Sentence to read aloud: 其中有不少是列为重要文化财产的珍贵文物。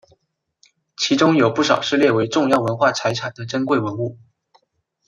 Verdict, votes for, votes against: rejected, 1, 3